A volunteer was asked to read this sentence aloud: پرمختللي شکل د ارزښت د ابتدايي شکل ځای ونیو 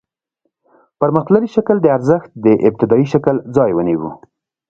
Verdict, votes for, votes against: rejected, 1, 2